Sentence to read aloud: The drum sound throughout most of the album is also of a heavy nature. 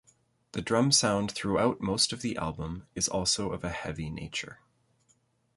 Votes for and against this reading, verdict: 2, 0, accepted